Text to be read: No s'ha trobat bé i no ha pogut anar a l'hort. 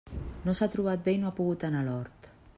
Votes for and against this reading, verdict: 2, 0, accepted